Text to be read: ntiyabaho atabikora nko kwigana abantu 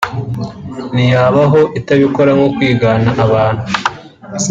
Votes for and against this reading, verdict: 0, 2, rejected